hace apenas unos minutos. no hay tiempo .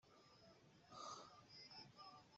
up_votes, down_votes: 0, 2